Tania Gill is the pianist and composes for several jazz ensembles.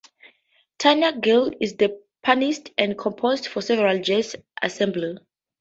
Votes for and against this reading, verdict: 0, 2, rejected